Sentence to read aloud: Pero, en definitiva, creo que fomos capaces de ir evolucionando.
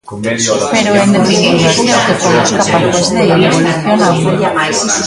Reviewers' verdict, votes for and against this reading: rejected, 0, 2